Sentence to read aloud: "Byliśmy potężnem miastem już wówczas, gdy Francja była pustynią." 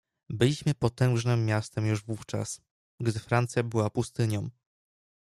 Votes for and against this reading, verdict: 0, 2, rejected